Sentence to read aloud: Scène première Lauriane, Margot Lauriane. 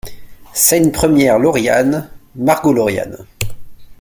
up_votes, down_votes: 2, 0